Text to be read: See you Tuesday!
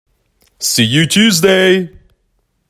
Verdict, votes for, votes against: accepted, 2, 0